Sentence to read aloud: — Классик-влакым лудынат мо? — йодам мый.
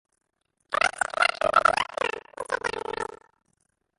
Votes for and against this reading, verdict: 0, 2, rejected